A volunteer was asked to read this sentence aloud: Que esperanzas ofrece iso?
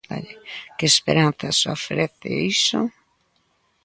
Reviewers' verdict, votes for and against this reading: rejected, 0, 3